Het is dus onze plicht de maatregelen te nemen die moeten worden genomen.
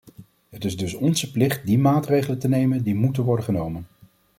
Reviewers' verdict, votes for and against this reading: rejected, 1, 2